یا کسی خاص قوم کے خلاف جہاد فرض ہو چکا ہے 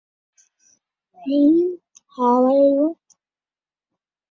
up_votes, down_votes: 0, 2